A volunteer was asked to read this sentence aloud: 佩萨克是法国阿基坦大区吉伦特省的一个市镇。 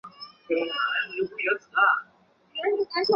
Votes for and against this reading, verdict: 0, 2, rejected